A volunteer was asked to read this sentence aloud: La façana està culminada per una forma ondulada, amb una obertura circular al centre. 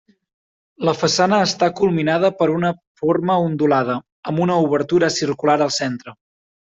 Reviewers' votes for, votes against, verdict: 3, 0, accepted